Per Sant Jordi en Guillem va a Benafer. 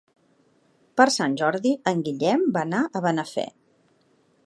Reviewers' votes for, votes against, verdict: 1, 2, rejected